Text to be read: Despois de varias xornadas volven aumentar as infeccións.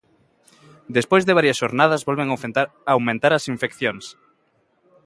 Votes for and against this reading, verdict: 0, 2, rejected